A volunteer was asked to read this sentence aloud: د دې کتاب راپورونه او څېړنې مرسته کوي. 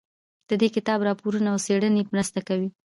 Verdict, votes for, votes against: accepted, 2, 0